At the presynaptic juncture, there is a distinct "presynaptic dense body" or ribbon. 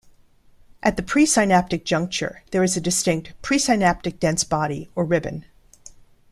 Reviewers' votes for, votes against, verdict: 1, 2, rejected